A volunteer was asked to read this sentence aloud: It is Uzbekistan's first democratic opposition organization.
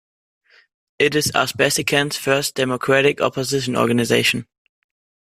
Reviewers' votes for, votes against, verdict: 1, 2, rejected